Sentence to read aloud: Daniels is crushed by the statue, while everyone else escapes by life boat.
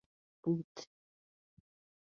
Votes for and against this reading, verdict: 0, 2, rejected